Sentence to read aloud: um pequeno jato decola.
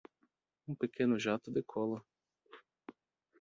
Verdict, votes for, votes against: accepted, 2, 0